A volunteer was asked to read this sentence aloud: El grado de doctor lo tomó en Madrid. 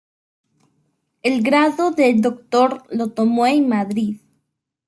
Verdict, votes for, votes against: accepted, 2, 1